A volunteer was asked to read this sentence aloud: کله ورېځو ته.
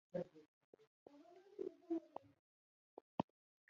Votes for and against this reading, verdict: 0, 2, rejected